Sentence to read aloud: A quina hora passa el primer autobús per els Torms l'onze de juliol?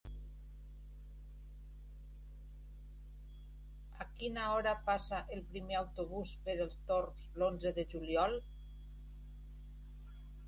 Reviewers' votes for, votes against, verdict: 1, 2, rejected